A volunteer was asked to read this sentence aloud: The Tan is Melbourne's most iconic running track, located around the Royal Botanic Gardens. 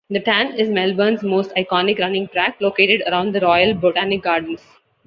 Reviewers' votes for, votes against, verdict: 2, 0, accepted